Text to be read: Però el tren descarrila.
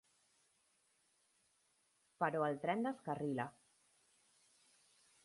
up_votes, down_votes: 4, 0